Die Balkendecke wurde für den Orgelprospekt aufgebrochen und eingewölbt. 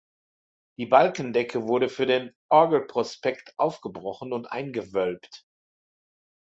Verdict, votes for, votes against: accepted, 2, 0